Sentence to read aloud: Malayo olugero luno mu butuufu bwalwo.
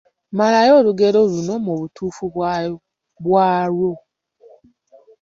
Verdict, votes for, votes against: rejected, 0, 2